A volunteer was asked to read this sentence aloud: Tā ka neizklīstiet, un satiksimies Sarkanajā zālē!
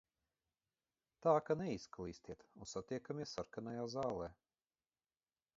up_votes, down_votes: 0, 2